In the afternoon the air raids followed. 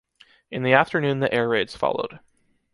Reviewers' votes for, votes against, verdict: 3, 0, accepted